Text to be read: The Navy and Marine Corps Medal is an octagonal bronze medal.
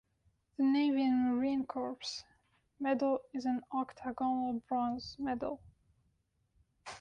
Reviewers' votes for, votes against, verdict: 0, 2, rejected